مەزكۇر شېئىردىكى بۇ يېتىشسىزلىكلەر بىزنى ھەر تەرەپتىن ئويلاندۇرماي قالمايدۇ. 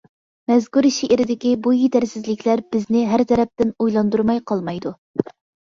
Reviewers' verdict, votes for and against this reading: rejected, 0, 2